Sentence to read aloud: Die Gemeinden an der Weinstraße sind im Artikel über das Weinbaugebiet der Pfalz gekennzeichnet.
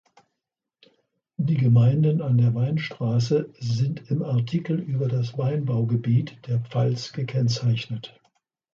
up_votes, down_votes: 2, 0